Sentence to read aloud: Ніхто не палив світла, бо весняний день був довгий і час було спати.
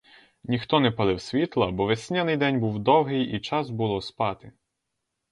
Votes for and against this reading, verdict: 4, 0, accepted